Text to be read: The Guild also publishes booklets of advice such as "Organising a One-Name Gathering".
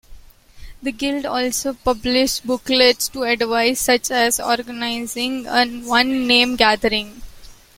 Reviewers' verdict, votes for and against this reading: rejected, 0, 2